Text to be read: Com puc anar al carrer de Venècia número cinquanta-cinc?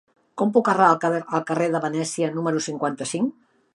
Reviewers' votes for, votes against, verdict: 0, 3, rejected